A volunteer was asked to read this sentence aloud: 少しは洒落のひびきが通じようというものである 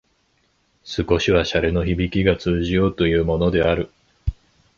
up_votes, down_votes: 2, 0